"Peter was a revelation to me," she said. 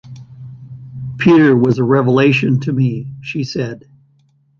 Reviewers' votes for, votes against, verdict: 2, 0, accepted